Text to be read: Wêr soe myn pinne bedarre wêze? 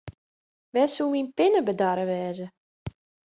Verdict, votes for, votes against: accepted, 2, 0